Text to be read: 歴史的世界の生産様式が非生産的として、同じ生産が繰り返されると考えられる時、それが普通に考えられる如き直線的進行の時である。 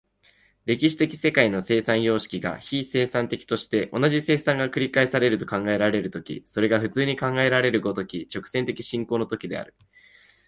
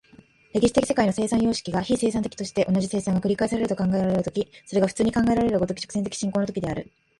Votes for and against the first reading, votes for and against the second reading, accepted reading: 2, 0, 0, 2, first